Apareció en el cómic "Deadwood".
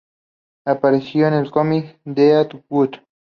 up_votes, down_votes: 2, 0